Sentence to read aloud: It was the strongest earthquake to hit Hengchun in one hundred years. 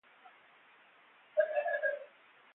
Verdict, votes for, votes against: rejected, 0, 2